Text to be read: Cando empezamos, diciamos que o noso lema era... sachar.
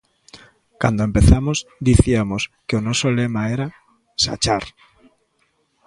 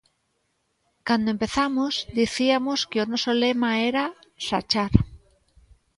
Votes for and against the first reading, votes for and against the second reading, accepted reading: 2, 0, 1, 2, first